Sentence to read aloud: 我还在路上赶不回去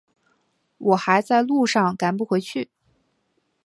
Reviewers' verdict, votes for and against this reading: accepted, 2, 0